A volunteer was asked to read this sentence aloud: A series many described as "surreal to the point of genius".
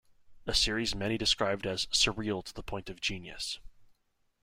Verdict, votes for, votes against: accepted, 2, 0